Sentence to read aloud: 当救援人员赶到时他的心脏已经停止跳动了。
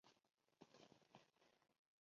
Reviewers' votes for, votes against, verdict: 0, 2, rejected